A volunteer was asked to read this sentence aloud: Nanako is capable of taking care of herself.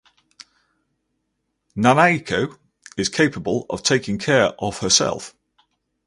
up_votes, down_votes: 4, 0